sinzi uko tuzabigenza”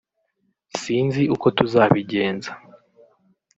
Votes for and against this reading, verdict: 1, 2, rejected